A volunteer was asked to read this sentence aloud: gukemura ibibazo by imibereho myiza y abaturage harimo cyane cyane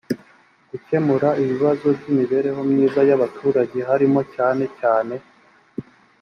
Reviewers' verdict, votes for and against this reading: accepted, 2, 0